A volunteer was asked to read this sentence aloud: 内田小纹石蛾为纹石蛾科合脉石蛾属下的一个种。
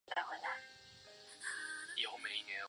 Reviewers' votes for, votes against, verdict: 0, 2, rejected